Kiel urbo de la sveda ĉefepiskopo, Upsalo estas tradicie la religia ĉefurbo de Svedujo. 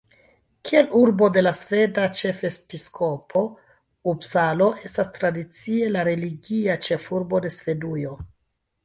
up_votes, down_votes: 2, 1